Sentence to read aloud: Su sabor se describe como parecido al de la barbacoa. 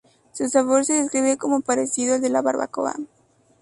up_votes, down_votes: 2, 0